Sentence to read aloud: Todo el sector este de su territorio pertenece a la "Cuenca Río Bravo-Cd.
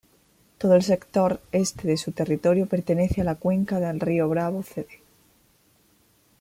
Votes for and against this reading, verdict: 0, 2, rejected